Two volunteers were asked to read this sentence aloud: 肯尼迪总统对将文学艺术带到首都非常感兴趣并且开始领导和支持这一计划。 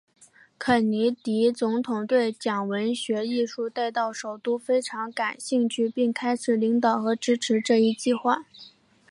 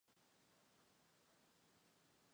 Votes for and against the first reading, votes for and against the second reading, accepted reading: 2, 1, 0, 3, first